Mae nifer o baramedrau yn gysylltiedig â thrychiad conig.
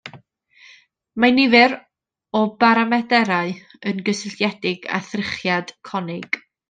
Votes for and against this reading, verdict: 0, 2, rejected